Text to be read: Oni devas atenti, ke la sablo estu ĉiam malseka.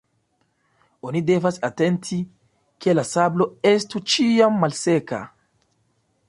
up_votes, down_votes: 2, 0